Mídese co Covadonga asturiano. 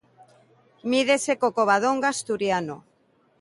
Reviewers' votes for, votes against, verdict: 2, 1, accepted